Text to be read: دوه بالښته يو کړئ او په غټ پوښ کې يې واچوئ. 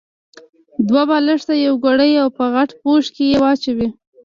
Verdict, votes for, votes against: rejected, 1, 2